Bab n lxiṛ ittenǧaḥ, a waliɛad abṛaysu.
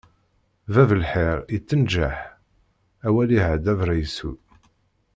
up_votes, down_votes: 1, 2